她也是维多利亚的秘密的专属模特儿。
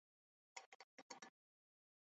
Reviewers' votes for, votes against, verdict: 1, 2, rejected